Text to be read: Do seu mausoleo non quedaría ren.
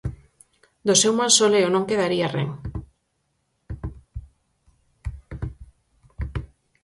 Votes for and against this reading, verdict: 4, 0, accepted